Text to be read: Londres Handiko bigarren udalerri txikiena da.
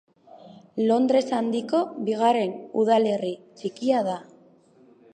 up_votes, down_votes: 0, 2